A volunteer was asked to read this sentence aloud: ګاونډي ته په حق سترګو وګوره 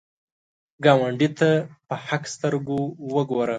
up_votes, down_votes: 2, 0